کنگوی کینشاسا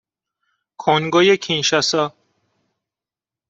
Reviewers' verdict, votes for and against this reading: accepted, 2, 0